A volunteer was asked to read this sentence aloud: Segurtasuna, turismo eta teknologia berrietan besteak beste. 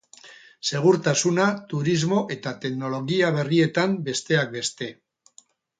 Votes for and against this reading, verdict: 0, 2, rejected